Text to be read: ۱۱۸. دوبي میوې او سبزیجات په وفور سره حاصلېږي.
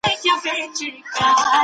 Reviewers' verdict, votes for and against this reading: rejected, 0, 2